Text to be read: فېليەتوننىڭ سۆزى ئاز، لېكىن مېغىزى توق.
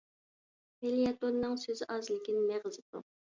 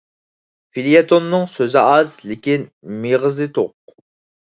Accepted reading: second